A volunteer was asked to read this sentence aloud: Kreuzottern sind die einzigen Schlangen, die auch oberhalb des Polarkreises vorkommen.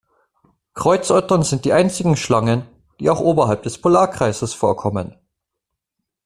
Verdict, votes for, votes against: accepted, 2, 0